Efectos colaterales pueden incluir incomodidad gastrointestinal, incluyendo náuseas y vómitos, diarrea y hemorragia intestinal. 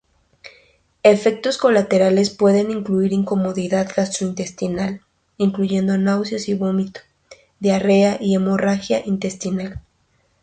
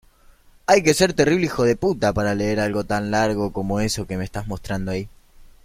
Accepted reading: first